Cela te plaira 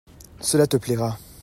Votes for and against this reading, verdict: 2, 0, accepted